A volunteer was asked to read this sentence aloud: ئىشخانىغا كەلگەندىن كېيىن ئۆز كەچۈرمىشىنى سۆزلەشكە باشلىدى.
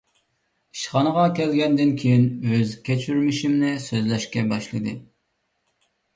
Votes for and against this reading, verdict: 1, 2, rejected